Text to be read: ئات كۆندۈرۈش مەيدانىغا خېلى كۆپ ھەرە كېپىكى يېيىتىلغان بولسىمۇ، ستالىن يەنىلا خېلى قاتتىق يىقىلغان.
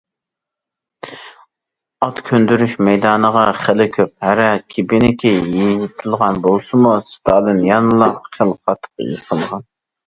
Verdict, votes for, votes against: rejected, 1, 2